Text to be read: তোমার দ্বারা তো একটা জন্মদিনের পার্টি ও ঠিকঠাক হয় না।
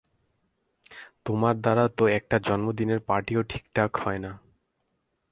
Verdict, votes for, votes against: accepted, 4, 0